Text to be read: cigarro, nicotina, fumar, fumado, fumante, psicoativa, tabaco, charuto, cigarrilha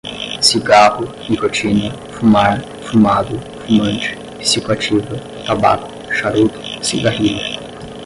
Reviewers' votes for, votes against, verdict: 5, 0, accepted